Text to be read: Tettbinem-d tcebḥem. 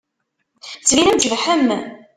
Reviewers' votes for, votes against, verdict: 0, 2, rejected